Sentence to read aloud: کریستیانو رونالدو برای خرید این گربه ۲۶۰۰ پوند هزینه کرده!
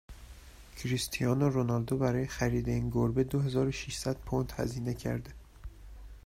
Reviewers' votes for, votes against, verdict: 0, 2, rejected